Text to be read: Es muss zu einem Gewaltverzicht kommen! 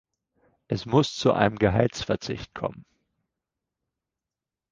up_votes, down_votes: 0, 4